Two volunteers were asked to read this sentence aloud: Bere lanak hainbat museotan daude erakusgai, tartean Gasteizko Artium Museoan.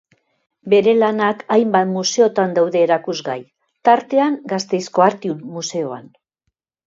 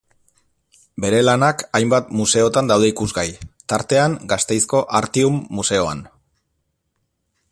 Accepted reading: first